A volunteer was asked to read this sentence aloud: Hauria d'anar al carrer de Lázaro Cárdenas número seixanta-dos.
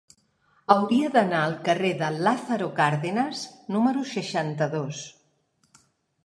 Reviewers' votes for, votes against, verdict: 5, 0, accepted